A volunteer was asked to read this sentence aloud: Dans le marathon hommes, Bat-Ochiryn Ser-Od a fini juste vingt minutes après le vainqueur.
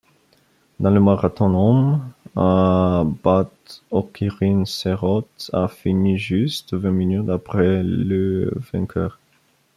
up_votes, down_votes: 0, 2